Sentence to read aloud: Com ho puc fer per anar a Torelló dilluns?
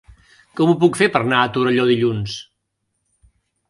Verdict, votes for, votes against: rejected, 0, 2